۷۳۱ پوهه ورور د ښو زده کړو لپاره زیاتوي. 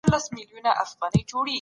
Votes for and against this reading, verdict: 0, 2, rejected